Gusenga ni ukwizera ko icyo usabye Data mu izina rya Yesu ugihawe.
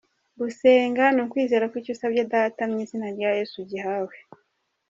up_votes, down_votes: 2, 0